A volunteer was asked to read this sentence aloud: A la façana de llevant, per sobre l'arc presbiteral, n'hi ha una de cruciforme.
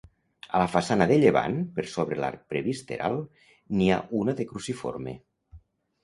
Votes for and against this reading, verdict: 0, 2, rejected